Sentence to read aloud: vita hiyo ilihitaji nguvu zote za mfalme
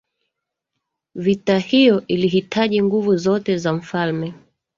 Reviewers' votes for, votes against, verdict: 1, 2, rejected